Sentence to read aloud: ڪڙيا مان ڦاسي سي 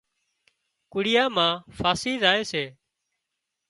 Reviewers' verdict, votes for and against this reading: rejected, 0, 2